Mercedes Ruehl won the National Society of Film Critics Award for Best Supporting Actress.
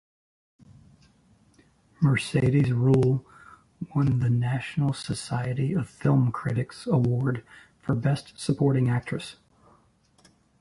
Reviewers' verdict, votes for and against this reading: accepted, 2, 0